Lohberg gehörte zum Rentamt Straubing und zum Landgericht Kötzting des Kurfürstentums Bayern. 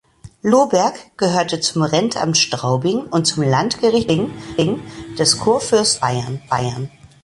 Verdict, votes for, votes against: rejected, 0, 2